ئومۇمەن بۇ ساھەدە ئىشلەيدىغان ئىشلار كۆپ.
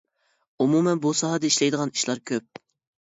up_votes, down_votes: 2, 0